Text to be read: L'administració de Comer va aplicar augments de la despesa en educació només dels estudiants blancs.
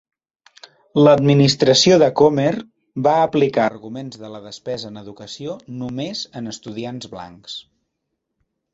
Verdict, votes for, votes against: rejected, 0, 3